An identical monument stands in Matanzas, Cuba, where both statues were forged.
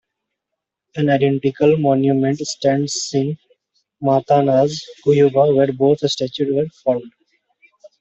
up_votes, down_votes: 2, 1